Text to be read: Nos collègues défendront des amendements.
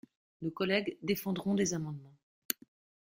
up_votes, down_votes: 2, 0